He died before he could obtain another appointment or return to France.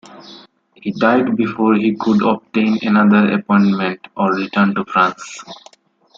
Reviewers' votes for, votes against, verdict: 2, 1, accepted